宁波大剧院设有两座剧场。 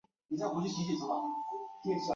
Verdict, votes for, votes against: rejected, 5, 6